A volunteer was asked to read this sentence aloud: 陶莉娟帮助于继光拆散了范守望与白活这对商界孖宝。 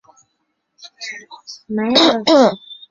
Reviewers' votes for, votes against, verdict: 0, 2, rejected